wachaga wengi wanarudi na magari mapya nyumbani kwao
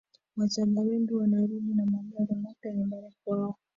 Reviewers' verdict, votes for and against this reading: rejected, 0, 2